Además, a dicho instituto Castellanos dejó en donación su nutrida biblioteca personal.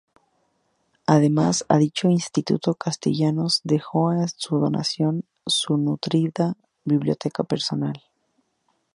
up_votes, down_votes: 2, 2